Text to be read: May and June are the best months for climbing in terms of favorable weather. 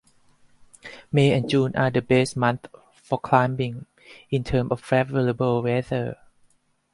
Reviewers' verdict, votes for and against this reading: rejected, 2, 4